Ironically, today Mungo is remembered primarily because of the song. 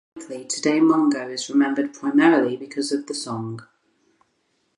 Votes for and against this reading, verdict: 2, 2, rejected